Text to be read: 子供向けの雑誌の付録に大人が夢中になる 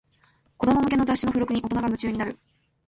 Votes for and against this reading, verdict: 1, 2, rejected